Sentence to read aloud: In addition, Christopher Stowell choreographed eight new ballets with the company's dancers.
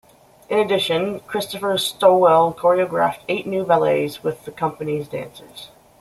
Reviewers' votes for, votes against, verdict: 2, 0, accepted